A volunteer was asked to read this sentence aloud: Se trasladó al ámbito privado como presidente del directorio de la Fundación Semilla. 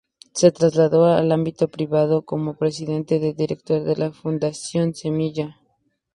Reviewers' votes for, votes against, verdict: 2, 0, accepted